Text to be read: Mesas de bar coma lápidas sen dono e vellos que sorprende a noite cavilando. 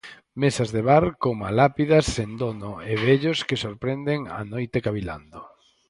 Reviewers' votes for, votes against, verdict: 0, 4, rejected